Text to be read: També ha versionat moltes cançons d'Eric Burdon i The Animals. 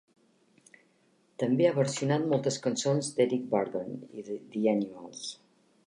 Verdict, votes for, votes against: accepted, 2, 0